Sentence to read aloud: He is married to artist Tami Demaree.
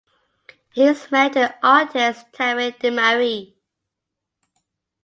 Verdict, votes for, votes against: rejected, 0, 2